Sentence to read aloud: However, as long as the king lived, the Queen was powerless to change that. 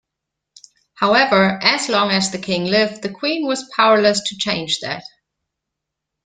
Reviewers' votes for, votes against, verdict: 2, 0, accepted